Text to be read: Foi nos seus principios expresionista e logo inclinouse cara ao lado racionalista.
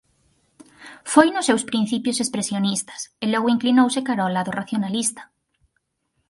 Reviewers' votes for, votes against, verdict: 0, 4, rejected